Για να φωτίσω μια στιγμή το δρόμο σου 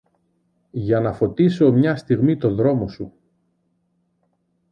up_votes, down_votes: 2, 0